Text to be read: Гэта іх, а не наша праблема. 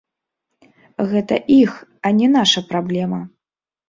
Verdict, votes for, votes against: accepted, 2, 1